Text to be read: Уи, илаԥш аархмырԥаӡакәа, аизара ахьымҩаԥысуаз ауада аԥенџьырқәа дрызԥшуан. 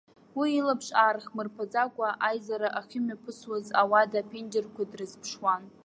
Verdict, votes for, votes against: accepted, 2, 1